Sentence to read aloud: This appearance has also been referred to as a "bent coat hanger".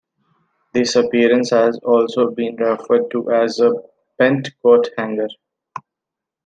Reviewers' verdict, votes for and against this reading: accepted, 2, 0